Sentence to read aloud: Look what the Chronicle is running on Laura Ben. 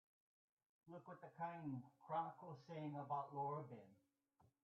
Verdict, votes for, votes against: rejected, 0, 2